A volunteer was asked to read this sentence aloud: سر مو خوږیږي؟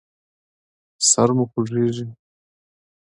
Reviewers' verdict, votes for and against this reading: accepted, 2, 0